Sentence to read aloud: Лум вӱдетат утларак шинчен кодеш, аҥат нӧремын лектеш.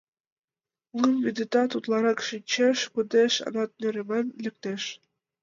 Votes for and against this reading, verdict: 1, 2, rejected